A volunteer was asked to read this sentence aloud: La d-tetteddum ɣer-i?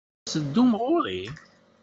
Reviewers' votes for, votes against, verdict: 1, 2, rejected